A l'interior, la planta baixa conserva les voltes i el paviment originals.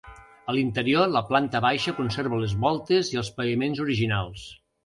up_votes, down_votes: 0, 2